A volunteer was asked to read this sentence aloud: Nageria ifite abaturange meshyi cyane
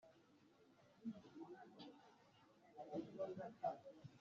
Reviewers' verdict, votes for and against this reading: rejected, 1, 2